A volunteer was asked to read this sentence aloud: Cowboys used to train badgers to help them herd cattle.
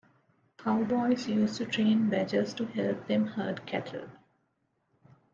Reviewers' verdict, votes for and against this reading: accepted, 2, 0